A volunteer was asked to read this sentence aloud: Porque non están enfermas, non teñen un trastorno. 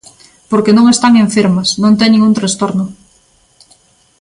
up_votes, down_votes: 2, 0